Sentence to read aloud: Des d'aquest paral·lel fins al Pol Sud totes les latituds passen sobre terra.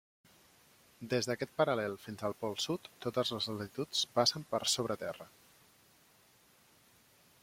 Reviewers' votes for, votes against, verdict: 0, 2, rejected